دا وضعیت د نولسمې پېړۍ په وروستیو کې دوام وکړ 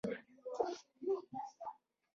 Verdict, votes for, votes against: rejected, 1, 2